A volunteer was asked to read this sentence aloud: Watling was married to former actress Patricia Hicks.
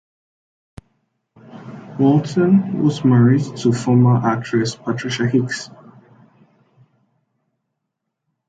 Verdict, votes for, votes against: rejected, 1, 3